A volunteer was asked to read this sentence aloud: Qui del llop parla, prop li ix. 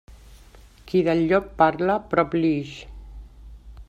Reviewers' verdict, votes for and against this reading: accepted, 2, 0